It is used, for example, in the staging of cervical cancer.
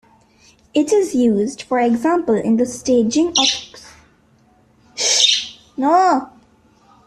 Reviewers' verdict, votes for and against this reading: rejected, 0, 2